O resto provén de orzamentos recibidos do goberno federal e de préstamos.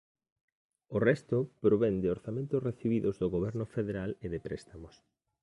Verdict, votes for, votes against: accepted, 2, 0